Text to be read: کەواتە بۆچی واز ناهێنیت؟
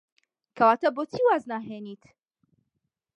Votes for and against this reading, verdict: 2, 0, accepted